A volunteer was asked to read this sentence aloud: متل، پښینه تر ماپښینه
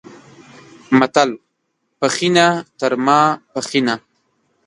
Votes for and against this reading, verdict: 0, 2, rejected